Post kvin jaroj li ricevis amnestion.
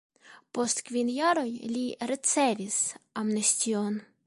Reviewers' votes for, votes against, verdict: 1, 2, rejected